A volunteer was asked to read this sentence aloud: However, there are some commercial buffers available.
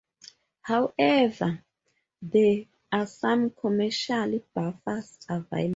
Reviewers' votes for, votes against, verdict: 0, 4, rejected